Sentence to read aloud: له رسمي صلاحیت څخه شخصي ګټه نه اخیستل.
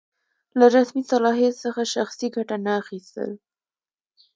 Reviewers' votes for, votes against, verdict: 2, 0, accepted